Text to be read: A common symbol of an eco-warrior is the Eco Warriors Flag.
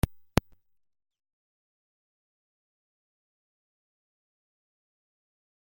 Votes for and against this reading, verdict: 0, 3, rejected